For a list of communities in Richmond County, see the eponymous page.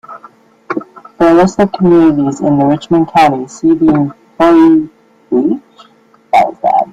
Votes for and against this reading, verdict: 0, 2, rejected